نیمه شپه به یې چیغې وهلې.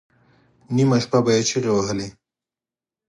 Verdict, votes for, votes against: accepted, 4, 0